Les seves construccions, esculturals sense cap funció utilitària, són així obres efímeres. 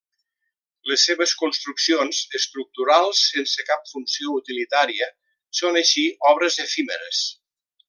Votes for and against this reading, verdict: 1, 2, rejected